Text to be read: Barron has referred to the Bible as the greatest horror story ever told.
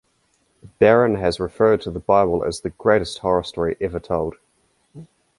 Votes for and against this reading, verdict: 2, 0, accepted